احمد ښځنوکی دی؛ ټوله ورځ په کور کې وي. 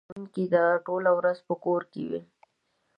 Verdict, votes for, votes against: rejected, 1, 2